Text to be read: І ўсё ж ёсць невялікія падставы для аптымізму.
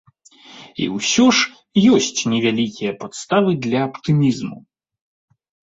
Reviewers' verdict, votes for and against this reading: accepted, 2, 0